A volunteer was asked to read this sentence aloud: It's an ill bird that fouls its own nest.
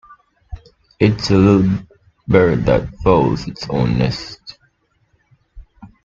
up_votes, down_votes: 0, 2